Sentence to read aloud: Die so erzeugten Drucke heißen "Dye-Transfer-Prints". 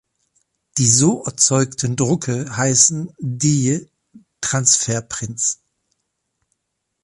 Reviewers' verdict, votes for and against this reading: accepted, 2, 0